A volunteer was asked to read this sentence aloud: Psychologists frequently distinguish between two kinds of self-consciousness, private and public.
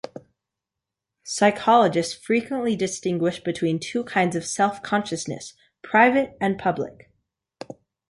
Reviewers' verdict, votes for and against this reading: accepted, 3, 0